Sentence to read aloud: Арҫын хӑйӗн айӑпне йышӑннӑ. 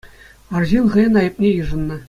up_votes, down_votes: 2, 0